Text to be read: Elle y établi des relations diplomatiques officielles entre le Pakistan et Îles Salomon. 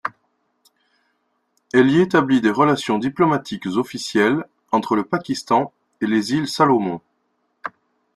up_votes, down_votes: 0, 2